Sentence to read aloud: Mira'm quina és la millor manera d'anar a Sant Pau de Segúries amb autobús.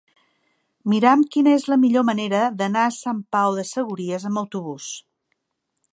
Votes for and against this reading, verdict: 0, 2, rejected